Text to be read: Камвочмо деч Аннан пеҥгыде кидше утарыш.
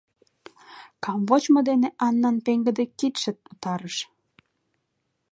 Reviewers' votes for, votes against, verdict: 0, 2, rejected